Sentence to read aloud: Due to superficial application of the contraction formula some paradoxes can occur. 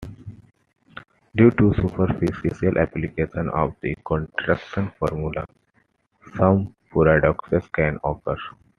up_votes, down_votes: 2, 1